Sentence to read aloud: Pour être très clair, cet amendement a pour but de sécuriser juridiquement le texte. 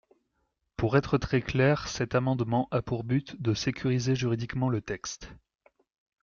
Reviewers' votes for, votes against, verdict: 2, 1, accepted